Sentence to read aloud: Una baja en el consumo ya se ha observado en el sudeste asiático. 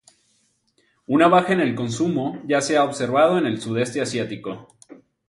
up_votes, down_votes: 0, 2